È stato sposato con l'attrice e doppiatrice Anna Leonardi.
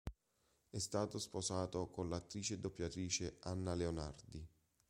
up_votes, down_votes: 2, 0